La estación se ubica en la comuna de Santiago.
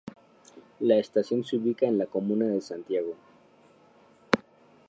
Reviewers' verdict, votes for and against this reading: accepted, 2, 0